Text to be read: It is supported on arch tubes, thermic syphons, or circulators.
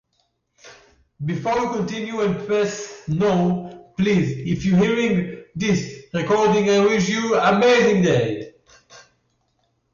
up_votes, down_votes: 0, 2